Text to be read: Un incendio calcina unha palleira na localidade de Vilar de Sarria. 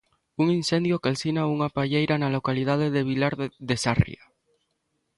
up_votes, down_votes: 1, 2